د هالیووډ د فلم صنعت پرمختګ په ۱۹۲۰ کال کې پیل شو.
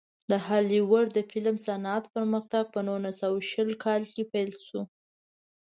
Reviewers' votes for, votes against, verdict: 0, 2, rejected